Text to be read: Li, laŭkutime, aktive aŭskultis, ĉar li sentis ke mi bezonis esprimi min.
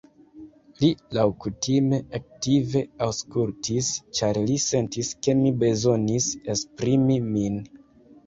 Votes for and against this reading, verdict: 0, 2, rejected